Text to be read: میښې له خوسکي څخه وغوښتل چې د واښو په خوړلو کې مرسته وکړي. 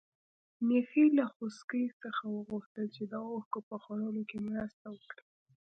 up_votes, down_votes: 2, 0